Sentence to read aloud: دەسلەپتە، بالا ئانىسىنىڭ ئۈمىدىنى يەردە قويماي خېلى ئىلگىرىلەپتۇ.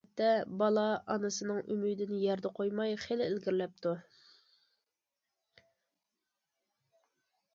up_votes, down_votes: 1, 2